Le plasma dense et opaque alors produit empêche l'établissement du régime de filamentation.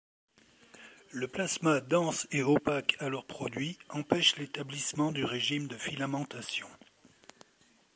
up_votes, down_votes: 2, 0